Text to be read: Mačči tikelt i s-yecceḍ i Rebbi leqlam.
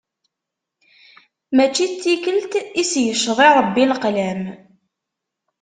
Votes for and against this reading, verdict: 1, 2, rejected